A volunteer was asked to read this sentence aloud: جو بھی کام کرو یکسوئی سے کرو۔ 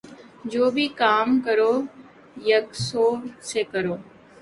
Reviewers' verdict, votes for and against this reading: accepted, 5, 2